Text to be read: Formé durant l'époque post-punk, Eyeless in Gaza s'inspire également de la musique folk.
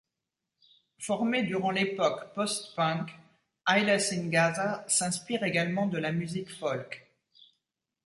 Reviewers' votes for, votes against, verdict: 2, 3, rejected